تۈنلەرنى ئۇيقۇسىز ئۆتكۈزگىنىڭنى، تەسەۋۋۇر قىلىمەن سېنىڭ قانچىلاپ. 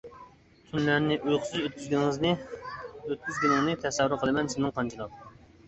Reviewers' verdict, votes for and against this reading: rejected, 0, 2